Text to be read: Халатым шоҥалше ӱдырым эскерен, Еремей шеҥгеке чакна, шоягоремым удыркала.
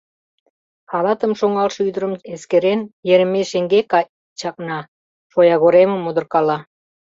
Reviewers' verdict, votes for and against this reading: rejected, 0, 2